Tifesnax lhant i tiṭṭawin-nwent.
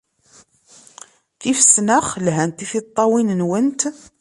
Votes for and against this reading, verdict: 2, 0, accepted